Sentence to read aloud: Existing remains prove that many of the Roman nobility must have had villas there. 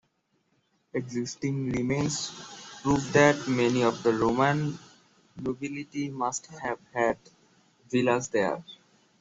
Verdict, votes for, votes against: accepted, 2, 0